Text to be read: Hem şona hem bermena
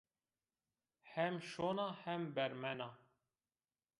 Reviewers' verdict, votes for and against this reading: accepted, 2, 1